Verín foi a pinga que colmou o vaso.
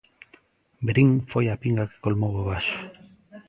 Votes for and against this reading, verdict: 1, 2, rejected